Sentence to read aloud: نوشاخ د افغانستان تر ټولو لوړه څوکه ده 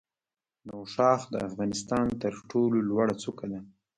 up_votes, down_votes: 1, 2